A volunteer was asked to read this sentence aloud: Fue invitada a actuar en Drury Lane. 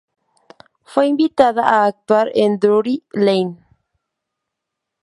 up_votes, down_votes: 2, 0